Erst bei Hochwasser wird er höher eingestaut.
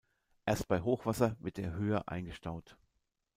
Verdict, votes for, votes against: accepted, 2, 0